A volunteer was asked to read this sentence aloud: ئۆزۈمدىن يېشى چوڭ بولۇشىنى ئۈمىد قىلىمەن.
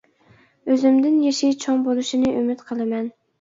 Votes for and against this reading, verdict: 2, 0, accepted